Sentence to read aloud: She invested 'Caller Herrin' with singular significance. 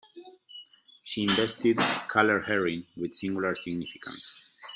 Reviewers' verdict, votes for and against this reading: rejected, 0, 2